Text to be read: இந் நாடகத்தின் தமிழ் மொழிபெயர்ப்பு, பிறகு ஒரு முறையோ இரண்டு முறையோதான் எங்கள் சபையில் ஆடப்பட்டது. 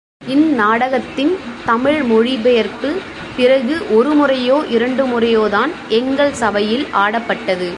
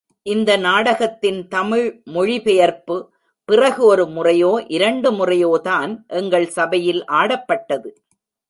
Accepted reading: first